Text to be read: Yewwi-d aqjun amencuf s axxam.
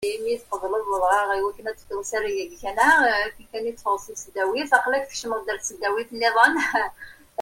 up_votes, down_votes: 0, 2